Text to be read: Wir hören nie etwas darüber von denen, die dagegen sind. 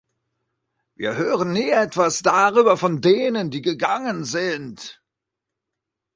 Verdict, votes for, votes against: rejected, 0, 2